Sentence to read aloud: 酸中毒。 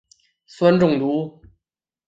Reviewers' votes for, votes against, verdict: 7, 0, accepted